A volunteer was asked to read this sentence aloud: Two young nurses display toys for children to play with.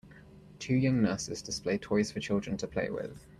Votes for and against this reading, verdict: 2, 0, accepted